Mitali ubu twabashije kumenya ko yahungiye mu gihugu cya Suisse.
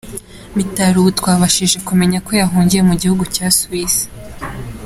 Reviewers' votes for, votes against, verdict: 2, 0, accepted